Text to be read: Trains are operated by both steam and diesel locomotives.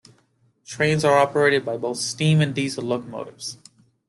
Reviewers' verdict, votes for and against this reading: accepted, 2, 0